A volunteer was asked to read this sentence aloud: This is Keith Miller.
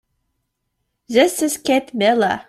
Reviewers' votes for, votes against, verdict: 0, 2, rejected